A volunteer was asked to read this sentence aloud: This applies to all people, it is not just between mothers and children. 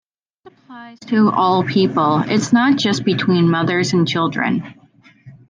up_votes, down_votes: 2, 1